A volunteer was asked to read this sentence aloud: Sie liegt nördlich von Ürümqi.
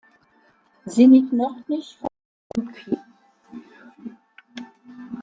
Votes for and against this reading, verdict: 1, 2, rejected